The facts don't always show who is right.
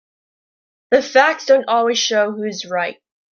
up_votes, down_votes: 2, 1